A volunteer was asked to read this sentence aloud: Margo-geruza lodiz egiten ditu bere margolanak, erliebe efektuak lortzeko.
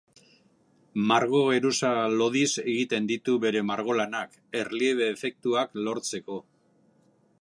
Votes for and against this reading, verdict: 2, 1, accepted